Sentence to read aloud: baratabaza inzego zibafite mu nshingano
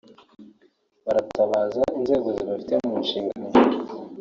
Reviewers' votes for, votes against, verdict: 2, 1, accepted